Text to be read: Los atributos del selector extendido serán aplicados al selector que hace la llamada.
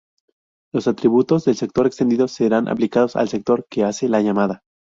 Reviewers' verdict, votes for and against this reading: rejected, 0, 2